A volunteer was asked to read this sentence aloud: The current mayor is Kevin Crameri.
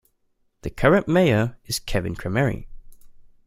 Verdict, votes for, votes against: accepted, 2, 0